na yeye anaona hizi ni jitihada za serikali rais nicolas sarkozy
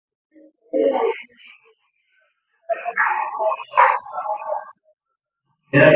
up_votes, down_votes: 0, 2